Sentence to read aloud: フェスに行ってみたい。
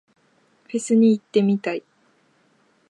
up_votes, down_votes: 2, 0